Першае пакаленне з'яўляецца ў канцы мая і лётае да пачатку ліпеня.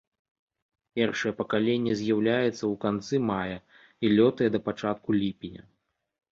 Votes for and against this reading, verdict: 2, 0, accepted